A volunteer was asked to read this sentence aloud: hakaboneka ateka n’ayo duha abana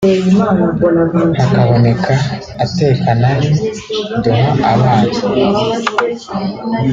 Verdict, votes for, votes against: rejected, 1, 2